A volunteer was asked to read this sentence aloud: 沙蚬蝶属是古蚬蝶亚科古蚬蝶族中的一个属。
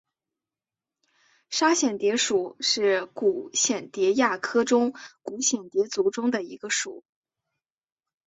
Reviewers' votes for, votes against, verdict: 6, 0, accepted